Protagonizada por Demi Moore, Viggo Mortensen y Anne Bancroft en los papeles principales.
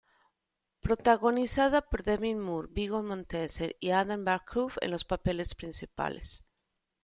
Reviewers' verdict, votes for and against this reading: rejected, 1, 2